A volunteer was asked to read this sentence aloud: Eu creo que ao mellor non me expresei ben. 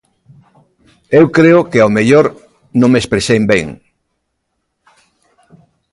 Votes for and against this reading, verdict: 1, 2, rejected